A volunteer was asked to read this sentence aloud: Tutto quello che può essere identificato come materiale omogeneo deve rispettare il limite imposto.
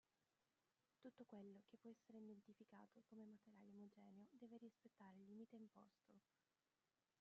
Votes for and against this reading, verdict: 0, 2, rejected